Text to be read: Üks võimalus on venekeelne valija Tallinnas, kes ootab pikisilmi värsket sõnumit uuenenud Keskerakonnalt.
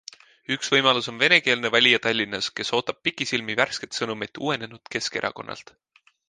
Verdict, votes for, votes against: accepted, 2, 0